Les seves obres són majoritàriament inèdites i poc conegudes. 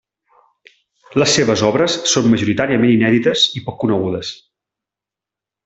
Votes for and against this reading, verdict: 2, 0, accepted